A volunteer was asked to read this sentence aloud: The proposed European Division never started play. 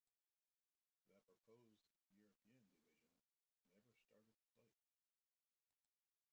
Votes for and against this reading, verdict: 0, 2, rejected